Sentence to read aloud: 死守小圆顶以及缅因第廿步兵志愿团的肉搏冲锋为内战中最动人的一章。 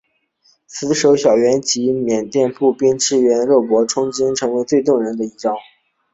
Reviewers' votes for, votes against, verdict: 0, 2, rejected